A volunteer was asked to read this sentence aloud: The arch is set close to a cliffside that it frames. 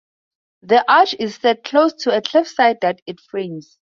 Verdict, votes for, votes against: rejected, 0, 2